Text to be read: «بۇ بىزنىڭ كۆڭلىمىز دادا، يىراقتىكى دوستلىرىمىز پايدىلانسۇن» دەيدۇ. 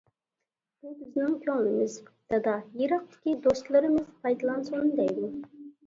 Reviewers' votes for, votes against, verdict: 2, 0, accepted